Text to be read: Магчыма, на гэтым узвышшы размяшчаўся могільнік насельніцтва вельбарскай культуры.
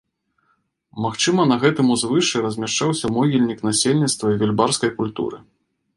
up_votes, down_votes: 2, 0